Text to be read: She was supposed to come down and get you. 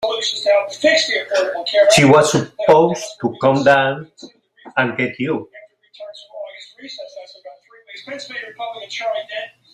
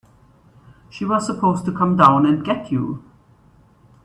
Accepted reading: second